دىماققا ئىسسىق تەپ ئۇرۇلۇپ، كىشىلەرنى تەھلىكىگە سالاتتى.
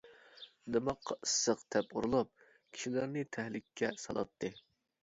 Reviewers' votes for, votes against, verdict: 1, 2, rejected